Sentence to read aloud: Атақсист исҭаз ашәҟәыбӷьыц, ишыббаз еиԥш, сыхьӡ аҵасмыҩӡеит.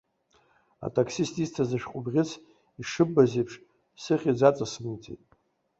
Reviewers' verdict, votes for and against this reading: accepted, 2, 1